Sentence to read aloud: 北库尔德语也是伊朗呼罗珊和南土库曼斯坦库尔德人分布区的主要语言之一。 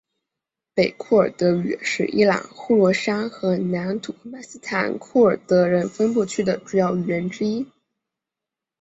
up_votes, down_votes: 1, 2